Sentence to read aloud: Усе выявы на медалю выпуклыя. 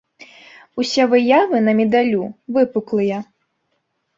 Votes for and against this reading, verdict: 2, 0, accepted